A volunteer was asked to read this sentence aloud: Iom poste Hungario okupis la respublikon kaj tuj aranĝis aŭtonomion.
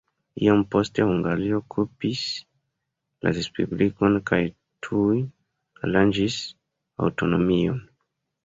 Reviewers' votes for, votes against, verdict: 1, 2, rejected